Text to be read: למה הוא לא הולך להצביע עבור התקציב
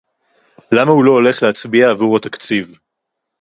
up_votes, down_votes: 2, 0